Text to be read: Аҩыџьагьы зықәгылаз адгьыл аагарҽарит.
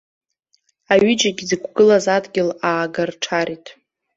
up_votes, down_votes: 2, 0